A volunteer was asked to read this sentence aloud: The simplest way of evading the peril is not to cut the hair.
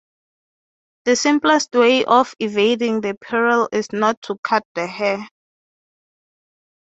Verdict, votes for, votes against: accepted, 3, 0